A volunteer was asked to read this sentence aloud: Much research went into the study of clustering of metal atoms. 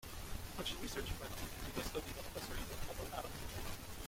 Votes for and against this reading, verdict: 0, 2, rejected